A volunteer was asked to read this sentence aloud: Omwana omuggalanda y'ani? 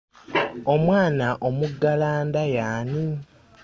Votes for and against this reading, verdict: 3, 0, accepted